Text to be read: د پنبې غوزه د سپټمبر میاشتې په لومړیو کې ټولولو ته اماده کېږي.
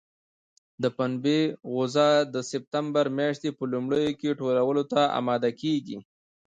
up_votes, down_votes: 1, 2